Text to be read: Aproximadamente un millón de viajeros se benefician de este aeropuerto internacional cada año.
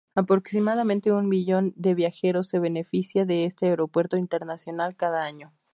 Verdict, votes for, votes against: accepted, 2, 0